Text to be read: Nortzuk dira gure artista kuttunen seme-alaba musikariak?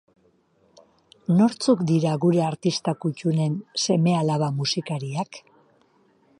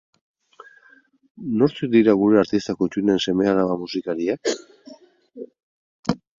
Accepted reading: second